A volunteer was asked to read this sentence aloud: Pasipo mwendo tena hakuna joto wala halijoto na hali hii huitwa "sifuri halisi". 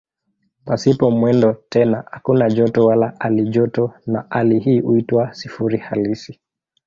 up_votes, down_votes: 2, 1